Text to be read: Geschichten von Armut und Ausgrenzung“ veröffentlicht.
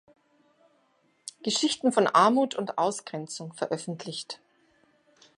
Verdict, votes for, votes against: accepted, 2, 0